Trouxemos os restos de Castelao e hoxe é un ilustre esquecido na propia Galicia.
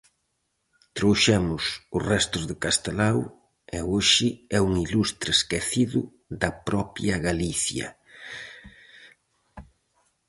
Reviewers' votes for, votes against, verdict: 0, 2, rejected